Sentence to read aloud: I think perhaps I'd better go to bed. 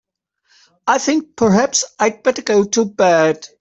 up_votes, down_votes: 2, 0